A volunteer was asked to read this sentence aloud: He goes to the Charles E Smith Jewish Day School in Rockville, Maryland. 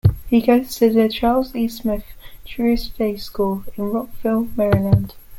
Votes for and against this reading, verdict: 2, 1, accepted